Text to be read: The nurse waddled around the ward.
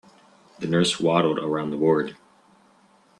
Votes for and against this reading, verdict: 3, 0, accepted